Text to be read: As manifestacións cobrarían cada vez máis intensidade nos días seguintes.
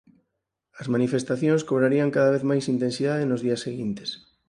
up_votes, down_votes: 4, 0